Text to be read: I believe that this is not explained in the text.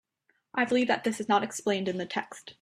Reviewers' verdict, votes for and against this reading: accepted, 2, 0